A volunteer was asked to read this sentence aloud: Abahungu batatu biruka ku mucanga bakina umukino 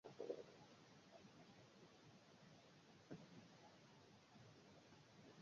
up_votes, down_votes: 0, 2